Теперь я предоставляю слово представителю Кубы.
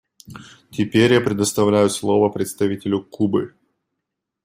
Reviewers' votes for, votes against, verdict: 2, 0, accepted